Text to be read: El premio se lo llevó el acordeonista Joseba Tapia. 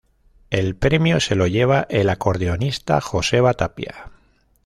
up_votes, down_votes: 0, 2